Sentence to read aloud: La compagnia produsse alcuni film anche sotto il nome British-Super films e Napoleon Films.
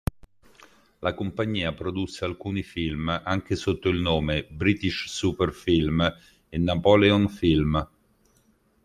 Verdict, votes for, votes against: rejected, 0, 2